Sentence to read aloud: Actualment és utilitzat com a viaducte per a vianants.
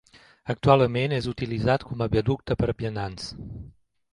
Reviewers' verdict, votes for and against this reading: accepted, 2, 0